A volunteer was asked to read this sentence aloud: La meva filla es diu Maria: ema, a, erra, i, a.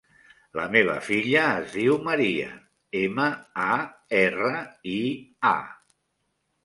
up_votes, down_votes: 3, 0